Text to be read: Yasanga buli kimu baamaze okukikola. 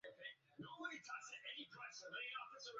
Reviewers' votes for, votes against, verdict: 0, 3, rejected